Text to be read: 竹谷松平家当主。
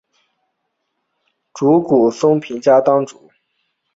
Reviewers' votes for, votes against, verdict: 7, 0, accepted